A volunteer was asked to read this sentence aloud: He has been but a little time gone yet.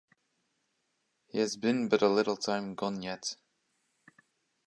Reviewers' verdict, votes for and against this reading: accepted, 2, 0